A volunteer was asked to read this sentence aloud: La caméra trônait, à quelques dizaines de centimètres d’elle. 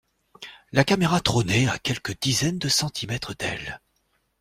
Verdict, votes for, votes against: accepted, 2, 0